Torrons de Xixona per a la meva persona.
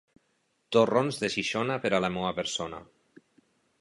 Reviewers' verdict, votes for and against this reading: rejected, 1, 2